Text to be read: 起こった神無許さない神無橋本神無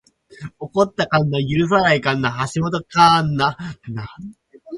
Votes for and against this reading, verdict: 4, 0, accepted